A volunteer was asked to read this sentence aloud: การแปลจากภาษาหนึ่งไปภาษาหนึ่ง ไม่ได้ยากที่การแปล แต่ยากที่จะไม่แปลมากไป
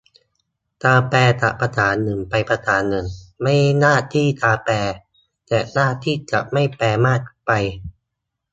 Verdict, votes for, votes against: rejected, 0, 3